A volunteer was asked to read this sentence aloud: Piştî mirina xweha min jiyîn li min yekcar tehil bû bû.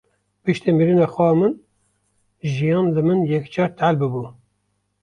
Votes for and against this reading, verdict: 0, 2, rejected